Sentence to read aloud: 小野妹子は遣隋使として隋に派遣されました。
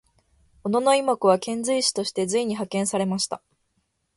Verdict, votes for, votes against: accepted, 2, 0